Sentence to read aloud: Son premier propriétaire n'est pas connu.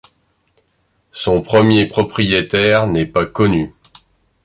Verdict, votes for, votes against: accepted, 2, 0